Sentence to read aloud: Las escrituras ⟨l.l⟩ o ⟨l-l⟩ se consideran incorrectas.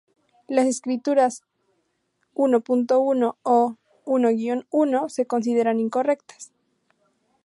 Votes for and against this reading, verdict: 2, 0, accepted